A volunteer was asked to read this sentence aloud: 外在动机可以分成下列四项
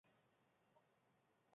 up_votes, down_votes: 0, 2